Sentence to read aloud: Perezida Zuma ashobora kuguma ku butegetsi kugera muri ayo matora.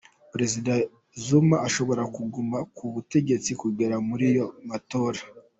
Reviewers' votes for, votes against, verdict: 2, 1, accepted